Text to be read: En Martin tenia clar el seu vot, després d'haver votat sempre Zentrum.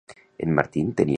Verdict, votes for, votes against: rejected, 0, 2